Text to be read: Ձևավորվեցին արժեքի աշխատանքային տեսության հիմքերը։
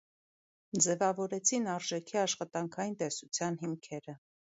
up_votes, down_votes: 1, 2